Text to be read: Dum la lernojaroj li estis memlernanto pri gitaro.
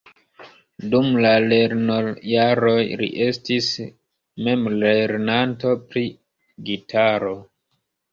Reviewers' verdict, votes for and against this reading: accepted, 2, 0